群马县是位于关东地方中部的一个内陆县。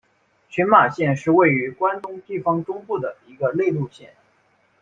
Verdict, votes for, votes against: accepted, 2, 0